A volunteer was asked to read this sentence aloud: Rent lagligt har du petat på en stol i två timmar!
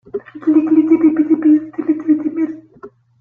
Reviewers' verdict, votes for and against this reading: rejected, 0, 2